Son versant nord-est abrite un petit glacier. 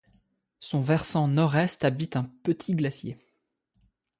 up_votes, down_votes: 0, 2